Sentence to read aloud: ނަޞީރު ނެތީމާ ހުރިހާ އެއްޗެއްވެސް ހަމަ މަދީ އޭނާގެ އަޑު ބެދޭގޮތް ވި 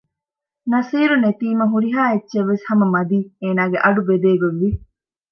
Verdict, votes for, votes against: accepted, 2, 0